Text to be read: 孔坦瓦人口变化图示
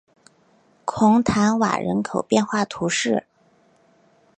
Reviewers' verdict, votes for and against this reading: accepted, 2, 0